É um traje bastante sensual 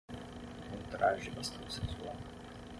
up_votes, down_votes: 3, 3